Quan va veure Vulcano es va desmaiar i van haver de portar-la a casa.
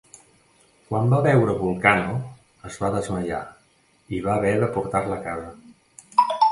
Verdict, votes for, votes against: rejected, 1, 2